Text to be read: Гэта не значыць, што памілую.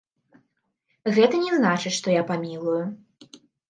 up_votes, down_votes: 0, 2